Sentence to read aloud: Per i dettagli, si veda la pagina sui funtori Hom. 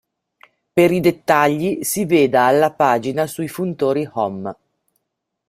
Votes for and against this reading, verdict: 2, 1, accepted